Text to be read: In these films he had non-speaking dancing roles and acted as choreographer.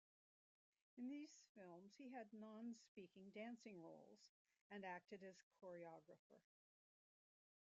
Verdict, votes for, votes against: rejected, 0, 2